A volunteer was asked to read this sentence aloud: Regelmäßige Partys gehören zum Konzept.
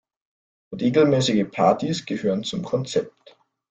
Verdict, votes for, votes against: accepted, 2, 0